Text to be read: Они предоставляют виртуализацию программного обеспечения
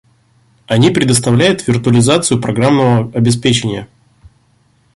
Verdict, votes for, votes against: rejected, 0, 2